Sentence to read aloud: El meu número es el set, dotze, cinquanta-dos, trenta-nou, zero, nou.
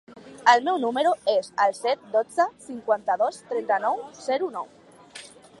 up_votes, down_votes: 3, 0